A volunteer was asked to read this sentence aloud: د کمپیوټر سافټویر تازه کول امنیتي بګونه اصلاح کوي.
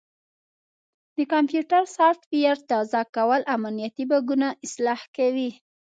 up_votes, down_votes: 2, 1